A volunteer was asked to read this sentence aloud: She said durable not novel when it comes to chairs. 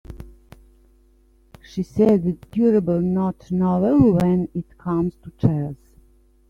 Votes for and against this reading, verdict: 1, 2, rejected